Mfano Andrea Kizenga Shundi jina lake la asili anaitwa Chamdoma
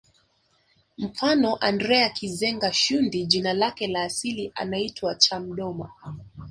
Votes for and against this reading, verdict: 0, 2, rejected